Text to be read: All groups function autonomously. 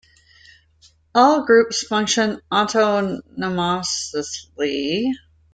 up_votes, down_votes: 0, 2